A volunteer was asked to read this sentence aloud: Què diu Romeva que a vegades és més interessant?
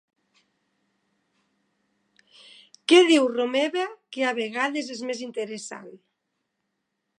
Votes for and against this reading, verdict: 3, 1, accepted